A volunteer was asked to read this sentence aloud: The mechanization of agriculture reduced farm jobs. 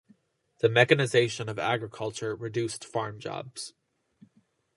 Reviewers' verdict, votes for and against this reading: accepted, 2, 0